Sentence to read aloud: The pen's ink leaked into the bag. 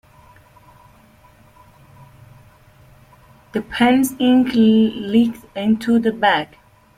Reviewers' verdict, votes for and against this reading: rejected, 0, 2